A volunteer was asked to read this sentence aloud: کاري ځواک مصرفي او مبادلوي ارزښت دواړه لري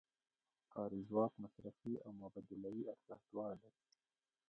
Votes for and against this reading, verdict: 2, 0, accepted